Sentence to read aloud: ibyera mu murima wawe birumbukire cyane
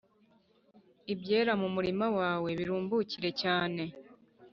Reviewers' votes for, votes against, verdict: 3, 0, accepted